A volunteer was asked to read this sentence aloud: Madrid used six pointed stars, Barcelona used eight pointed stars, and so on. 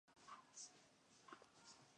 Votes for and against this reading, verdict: 0, 2, rejected